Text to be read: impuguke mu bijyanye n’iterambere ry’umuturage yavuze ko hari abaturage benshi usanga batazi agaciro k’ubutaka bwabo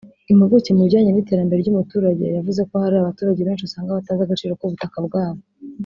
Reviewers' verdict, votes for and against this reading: accepted, 2, 0